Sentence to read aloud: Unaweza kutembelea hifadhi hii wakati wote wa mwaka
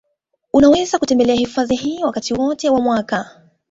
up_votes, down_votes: 0, 2